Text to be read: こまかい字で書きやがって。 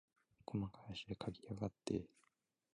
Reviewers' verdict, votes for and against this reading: rejected, 0, 2